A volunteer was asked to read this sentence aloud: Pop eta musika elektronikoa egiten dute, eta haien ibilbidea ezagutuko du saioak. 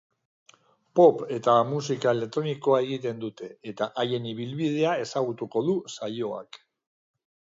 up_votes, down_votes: 2, 0